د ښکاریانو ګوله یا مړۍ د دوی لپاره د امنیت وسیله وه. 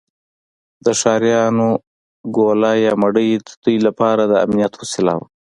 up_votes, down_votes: 4, 0